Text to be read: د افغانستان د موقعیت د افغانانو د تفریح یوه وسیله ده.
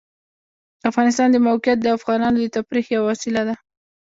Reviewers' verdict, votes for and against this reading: accepted, 2, 0